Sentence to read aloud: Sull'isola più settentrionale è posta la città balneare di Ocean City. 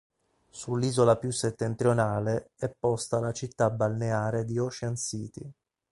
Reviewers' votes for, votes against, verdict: 3, 0, accepted